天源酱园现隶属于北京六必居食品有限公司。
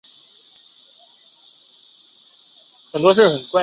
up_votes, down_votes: 0, 2